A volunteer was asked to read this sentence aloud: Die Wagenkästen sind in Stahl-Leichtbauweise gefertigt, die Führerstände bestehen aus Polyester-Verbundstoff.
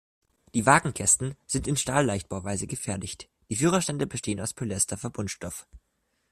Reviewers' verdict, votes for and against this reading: rejected, 1, 2